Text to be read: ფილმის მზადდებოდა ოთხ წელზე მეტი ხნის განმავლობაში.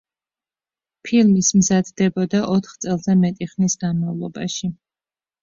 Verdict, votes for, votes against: rejected, 1, 2